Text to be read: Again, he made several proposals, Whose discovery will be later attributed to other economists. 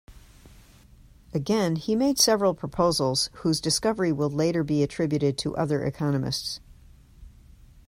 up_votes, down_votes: 1, 2